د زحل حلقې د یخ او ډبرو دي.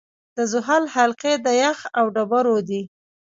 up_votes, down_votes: 2, 0